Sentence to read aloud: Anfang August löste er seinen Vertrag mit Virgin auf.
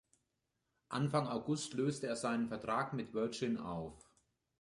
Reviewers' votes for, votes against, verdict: 2, 0, accepted